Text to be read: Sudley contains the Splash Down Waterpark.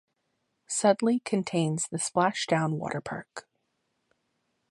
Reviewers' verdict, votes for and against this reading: accepted, 2, 0